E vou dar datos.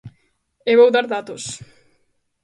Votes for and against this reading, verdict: 2, 0, accepted